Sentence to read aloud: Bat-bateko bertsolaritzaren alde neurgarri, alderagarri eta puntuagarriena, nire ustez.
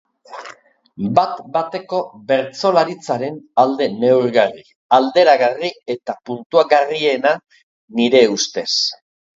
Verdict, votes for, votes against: accepted, 3, 0